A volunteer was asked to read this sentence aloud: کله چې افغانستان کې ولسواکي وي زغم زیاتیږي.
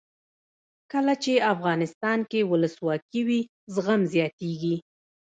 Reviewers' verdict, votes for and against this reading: rejected, 1, 2